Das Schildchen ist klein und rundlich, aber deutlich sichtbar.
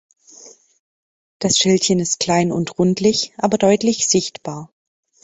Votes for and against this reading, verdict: 2, 0, accepted